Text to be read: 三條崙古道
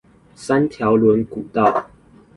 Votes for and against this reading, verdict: 2, 0, accepted